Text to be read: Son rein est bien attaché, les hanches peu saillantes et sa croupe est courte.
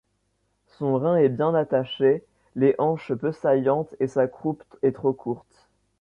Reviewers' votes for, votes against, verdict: 0, 2, rejected